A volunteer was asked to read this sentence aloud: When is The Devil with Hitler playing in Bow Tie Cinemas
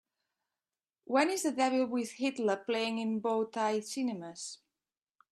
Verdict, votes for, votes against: accepted, 2, 0